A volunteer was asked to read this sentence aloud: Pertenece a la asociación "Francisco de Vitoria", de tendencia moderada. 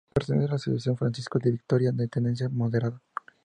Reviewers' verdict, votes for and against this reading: accepted, 2, 0